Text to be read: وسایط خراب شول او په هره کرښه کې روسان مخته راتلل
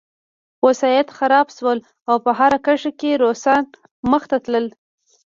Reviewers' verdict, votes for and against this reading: rejected, 1, 2